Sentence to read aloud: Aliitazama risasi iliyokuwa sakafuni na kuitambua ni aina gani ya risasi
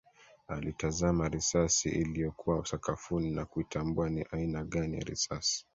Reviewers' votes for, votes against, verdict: 2, 0, accepted